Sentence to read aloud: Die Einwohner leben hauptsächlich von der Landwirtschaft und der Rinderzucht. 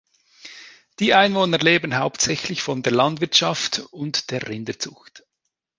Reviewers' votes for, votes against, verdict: 2, 0, accepted